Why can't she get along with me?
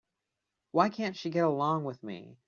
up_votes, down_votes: 2, 0